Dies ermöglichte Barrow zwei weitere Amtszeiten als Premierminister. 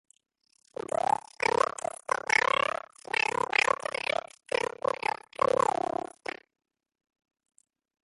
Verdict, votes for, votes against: rejected, 1, 3